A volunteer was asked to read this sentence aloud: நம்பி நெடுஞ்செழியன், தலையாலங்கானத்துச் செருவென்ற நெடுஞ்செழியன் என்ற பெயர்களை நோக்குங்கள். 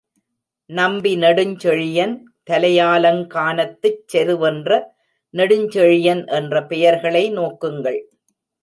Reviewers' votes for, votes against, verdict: 2, 0, accepted